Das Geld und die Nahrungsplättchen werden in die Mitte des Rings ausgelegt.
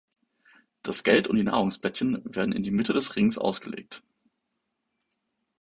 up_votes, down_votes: 2, 0